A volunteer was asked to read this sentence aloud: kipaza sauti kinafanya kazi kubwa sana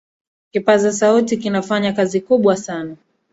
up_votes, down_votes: 3, 0